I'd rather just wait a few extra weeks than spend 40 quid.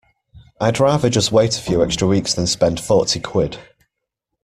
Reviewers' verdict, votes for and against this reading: rejected, 0, 2